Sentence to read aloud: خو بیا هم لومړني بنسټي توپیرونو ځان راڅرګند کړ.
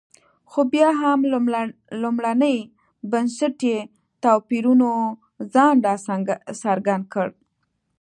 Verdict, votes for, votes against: accepted, 2, 0